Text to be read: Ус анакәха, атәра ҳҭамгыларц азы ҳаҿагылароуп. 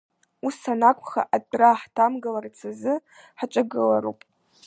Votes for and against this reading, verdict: 3, 2, accepted